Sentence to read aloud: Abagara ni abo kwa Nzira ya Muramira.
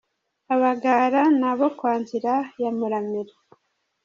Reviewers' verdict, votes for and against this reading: rejected, 0, 2